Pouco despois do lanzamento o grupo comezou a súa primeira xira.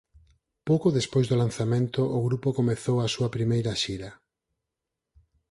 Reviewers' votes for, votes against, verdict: 4, 0, accepted